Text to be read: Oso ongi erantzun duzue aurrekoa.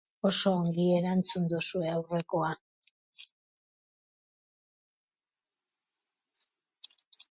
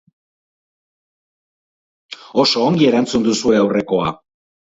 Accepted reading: first